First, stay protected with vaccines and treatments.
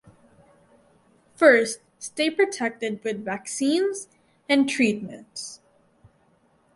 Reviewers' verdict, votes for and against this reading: accepted, 4, 0